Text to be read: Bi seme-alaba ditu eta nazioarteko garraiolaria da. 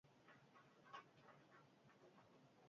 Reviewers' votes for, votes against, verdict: 0, 4, rejected